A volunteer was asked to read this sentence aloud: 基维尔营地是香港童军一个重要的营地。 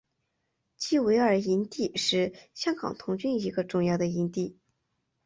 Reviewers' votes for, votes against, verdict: 2, 0, accepted